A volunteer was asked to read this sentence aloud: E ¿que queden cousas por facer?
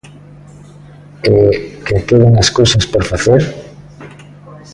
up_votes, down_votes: 0, 2